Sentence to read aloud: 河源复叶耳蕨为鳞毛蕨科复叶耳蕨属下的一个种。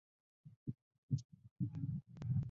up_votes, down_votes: 0, 2